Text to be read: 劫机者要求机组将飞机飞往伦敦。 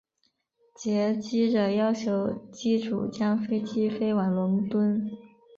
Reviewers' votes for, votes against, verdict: 2, 1, accepted